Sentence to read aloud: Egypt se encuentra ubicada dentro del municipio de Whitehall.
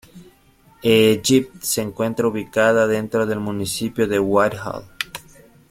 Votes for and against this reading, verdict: 2, 0, accepted